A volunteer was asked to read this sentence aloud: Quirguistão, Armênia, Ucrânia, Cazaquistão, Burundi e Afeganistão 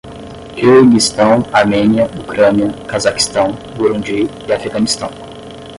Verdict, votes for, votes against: rejected, 5, 5